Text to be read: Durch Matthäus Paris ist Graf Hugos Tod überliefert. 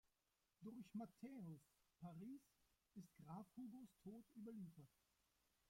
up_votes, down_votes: 0, 2